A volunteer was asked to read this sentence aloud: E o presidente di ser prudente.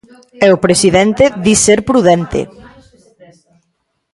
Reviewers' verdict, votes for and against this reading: rejected, 0, 2